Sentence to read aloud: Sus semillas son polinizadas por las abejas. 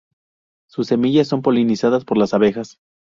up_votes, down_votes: 2, 0